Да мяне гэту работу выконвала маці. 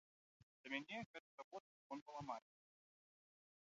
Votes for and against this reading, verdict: 0, 2, rejected